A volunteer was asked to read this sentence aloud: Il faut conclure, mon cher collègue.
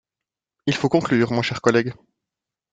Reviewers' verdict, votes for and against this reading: accepted, 2, 0